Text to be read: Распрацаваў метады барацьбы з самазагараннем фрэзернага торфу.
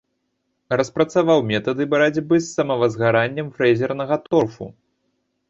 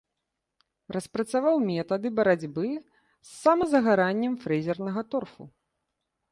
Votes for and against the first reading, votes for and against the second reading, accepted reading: 0, 2, 2, 0, second